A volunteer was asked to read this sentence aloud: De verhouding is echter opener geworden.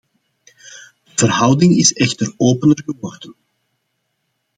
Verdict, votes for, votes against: accepted, 2, 0